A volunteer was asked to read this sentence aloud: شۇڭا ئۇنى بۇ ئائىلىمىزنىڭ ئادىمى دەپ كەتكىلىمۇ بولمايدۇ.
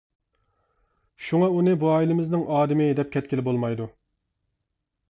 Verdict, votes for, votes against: rejected, 1, 2